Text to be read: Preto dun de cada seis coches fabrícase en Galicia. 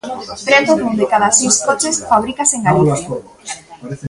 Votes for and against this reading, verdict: 3, 2, accepted